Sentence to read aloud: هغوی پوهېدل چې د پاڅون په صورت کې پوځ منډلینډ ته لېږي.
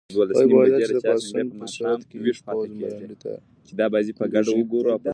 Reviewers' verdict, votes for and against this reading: rejected, 0, 2